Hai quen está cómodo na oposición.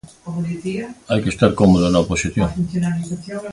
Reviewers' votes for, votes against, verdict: 0, 2, rejected